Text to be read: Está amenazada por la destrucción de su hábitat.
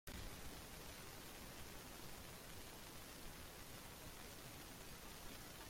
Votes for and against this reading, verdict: 0, 2, rejected